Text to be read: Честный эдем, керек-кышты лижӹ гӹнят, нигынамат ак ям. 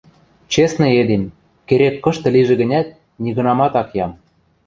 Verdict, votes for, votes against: accepted, 2, 0